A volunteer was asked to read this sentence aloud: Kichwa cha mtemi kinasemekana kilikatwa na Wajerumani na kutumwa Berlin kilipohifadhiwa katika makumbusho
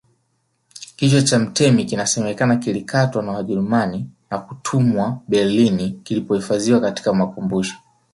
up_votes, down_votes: 3, 2